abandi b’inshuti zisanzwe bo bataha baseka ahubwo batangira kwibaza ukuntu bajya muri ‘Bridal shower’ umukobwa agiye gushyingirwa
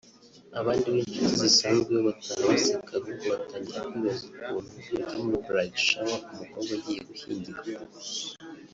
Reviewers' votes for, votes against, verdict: 0, 2, rejected